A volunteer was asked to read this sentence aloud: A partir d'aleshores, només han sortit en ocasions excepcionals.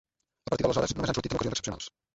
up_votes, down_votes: 0, 2